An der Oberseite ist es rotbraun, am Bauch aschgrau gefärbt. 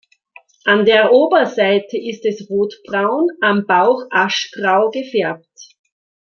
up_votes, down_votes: 2, 0